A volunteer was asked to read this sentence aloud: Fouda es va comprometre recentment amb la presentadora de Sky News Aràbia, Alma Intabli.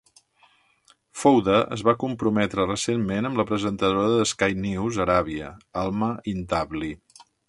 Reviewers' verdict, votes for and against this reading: accepted, 2, 0